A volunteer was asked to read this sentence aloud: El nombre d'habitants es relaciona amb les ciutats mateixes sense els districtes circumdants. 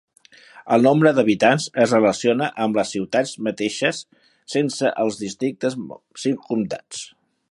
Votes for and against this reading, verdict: 0, 2, rejected